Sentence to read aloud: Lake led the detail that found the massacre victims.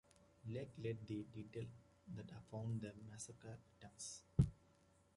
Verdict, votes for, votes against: accepted, 2, 1